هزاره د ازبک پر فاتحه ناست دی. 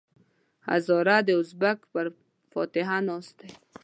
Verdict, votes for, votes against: rejected, 1, 2